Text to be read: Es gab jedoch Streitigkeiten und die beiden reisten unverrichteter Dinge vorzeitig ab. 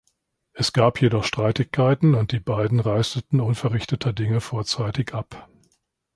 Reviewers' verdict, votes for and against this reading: rejected, 0, 2